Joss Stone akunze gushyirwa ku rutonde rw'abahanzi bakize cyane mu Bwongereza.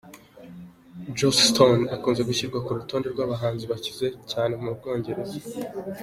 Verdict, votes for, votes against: accepted, 2, 0